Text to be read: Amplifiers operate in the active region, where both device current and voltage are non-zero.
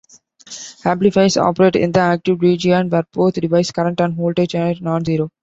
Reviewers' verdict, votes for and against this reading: accepted, 2, 0